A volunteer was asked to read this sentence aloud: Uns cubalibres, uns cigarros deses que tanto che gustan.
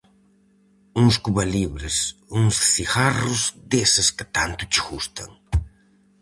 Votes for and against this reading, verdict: 4, 0, accepted